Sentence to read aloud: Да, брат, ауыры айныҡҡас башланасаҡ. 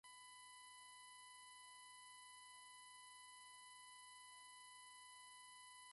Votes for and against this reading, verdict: 1, 2, rejected